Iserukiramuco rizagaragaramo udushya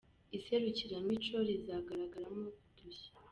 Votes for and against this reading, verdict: 0, 2, rejected